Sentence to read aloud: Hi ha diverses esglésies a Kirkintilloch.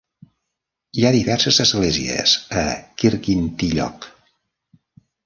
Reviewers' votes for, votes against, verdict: 2, 0, accepted